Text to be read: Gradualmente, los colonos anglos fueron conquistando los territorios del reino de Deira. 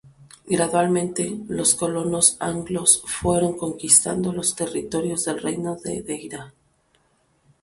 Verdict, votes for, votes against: accepted, 2, 0